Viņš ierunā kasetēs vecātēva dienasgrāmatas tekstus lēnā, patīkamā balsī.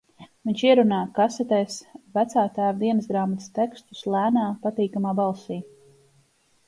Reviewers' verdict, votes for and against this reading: accepted, 2, 0